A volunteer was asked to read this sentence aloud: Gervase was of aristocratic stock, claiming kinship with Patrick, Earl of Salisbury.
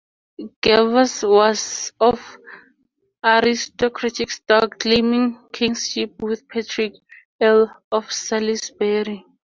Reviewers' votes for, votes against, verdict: 2, 0, accepted